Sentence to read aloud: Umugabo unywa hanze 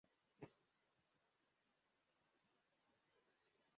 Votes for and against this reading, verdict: 0, 2, rejected